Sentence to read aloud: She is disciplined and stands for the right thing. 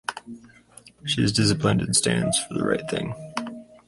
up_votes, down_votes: 4, 0